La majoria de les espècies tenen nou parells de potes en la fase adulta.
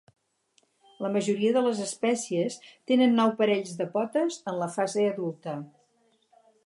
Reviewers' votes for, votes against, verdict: 4, 0, accepted